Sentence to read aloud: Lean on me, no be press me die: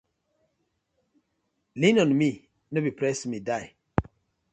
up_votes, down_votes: 2, 0